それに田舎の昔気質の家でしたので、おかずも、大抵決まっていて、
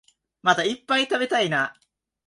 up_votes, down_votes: 0, 2